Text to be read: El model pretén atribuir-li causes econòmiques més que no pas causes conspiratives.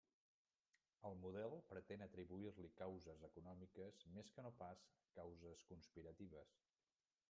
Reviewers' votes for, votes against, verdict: 1, 2, rejected